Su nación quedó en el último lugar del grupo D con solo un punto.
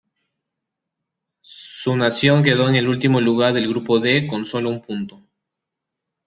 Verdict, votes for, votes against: accepted, 2, 0